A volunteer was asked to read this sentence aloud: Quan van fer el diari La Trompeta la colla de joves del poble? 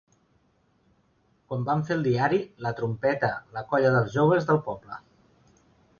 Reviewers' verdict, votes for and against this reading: rejected, 0, 2